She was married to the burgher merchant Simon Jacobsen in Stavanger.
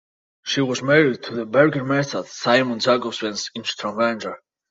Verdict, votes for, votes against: rejected, 0, 2